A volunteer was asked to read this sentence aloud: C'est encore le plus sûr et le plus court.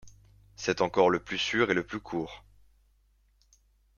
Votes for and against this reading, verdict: 2, 0, accepted